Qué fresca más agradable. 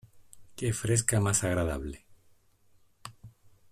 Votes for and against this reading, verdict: 2, 0, accepted